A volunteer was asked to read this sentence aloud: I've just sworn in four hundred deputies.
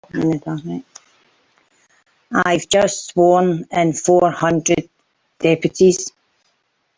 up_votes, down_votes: 1, 2